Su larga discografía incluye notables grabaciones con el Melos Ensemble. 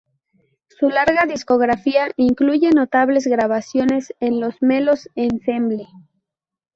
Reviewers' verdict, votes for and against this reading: rejected, 0, 2